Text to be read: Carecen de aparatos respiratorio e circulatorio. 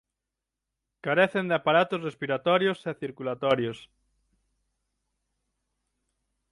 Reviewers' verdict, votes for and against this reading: rejected, 3, 6